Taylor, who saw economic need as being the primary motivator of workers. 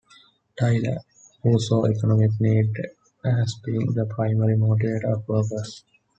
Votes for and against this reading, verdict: 1, 2, rejected